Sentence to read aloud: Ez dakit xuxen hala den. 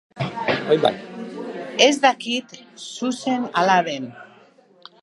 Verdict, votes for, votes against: rejected, 1, 2